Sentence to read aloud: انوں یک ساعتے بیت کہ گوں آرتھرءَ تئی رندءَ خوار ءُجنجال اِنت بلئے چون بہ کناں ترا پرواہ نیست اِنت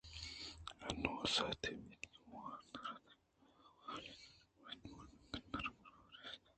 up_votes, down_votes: 0, 2